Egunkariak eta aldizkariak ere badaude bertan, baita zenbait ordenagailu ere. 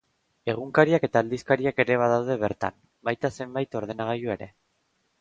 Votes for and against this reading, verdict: 2, 0, accepted